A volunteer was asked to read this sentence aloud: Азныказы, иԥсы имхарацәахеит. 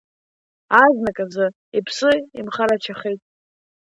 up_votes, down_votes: 2, 1